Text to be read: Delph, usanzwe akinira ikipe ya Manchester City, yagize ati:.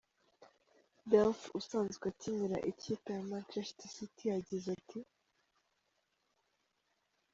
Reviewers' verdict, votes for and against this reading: accepted, 3, 0